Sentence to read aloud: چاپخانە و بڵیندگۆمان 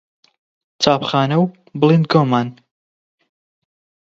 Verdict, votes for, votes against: accepted, 20, 0